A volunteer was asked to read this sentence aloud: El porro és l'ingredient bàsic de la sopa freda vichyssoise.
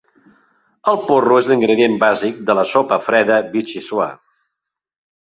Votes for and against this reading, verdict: 2, 0, accepted